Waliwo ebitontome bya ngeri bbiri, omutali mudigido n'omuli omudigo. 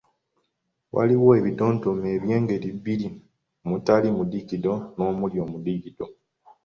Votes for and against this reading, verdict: 0, 2, rejected